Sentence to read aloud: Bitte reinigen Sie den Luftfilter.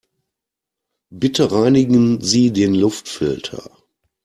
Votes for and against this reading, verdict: 2, 0, accepted